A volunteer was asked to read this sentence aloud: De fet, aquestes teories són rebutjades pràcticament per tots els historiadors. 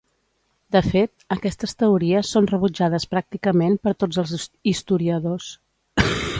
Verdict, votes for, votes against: rejected, 1, 2